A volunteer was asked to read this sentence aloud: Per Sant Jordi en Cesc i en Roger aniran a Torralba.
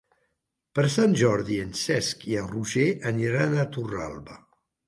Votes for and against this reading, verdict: 3, 0, accepted